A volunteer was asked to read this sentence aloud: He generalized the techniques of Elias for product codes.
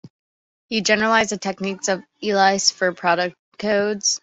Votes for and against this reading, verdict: 3, 2, accepted